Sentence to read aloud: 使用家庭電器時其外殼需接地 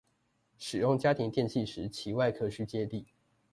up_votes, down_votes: 2, 0